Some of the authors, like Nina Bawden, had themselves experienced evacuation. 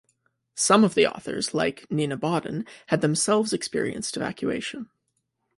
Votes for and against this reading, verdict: 2, 0, accepted